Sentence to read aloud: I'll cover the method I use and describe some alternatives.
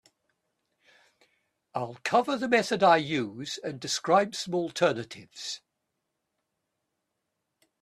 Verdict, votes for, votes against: accepted, 2, 1